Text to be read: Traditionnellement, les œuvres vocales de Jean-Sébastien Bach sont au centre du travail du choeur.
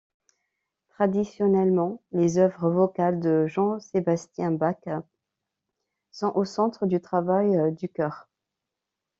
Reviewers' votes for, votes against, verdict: 2, 0, accepted